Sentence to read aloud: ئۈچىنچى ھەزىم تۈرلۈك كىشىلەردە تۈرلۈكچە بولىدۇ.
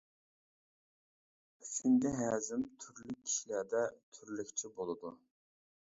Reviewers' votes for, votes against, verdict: 1, 2, rejected